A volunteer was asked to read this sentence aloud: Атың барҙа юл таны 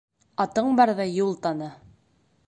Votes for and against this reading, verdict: 1, 2, rejected